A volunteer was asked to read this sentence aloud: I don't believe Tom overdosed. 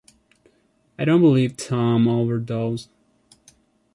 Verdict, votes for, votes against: accepted, 2, 1